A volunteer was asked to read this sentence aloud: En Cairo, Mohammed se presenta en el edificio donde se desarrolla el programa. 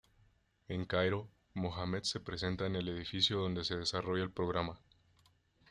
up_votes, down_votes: 2, 0